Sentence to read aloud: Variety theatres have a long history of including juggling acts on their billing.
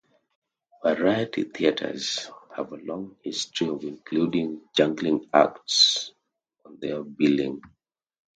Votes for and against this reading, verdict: 2, 0, accepted